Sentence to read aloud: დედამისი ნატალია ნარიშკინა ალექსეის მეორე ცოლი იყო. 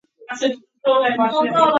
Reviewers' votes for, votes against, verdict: 0, 2, rejected